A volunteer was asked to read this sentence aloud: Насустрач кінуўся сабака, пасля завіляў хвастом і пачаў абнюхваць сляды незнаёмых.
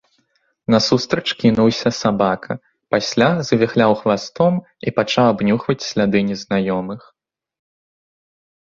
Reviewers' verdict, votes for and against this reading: rejected, 0, 2